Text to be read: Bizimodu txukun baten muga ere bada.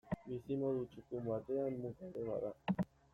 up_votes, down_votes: 1, 2